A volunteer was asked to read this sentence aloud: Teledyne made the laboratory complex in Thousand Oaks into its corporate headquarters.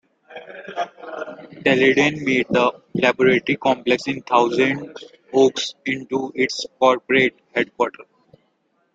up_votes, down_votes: 0, 2